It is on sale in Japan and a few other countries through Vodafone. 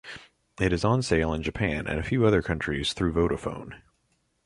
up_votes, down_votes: 2, 0